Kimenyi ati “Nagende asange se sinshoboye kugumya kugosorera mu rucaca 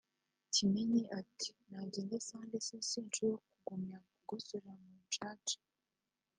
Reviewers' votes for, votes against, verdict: 2, 1, accepted